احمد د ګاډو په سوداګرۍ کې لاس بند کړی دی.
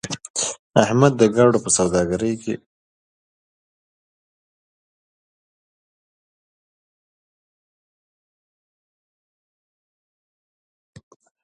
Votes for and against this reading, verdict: 0, 2, rejected